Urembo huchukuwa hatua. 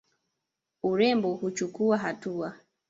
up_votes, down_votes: 0, 2